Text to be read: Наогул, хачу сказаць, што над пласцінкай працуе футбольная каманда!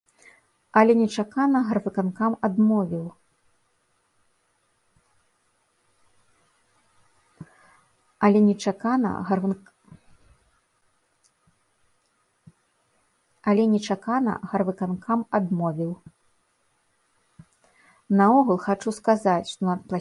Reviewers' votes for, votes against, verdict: 0, 2, rejected